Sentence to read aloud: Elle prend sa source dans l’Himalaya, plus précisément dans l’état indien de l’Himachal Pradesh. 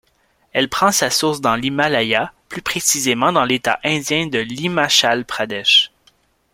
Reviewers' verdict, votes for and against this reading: accepted, 2, 0